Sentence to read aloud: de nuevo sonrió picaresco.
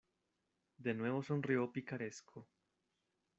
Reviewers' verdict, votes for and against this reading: accepted, 2, 0